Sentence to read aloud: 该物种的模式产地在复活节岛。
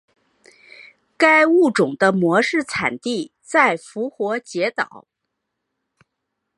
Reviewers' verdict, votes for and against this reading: rejected, 0, 2